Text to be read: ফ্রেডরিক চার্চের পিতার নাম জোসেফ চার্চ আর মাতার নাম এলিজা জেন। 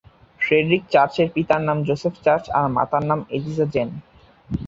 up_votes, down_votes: 2, 0